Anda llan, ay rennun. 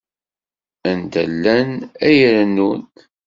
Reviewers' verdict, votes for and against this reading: accepted, 2, 0